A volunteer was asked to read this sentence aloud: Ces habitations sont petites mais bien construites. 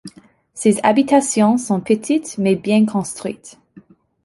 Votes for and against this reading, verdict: 2, 0, accepted